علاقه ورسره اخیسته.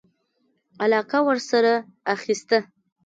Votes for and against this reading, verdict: 2, 0, accepted